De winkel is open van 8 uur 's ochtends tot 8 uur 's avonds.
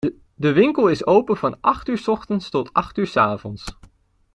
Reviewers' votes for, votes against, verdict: 0, 2, rejected